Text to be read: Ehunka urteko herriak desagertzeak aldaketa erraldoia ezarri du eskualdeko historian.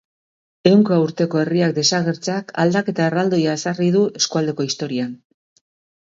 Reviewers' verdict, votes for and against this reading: accepted, 4, 0